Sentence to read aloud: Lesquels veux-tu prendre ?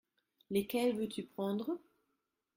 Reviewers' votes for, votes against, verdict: 2, 0, accepted